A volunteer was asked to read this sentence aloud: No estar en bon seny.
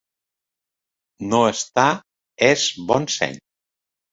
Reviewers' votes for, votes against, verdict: 0, 3, rejected